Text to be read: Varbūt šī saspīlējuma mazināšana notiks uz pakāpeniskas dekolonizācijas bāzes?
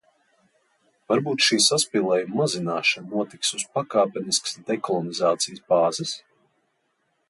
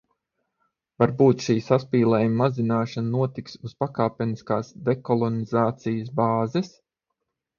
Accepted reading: first